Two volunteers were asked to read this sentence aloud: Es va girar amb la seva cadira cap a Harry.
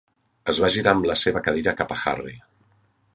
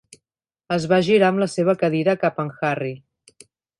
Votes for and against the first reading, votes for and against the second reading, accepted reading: 3, 0, 2, 3, first